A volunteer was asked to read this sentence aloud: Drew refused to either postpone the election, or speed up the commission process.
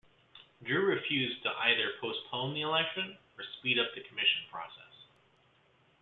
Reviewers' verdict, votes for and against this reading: rejected, 1, 2